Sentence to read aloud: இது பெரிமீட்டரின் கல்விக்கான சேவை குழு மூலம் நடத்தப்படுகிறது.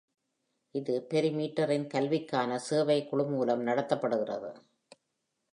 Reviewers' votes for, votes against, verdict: 2, 0, accepted